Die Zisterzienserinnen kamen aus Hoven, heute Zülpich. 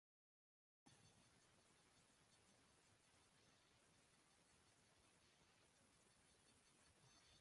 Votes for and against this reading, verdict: 0, 2, rejected